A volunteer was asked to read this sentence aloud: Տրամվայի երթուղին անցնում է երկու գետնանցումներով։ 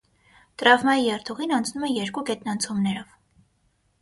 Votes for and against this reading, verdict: 6, 3, accepted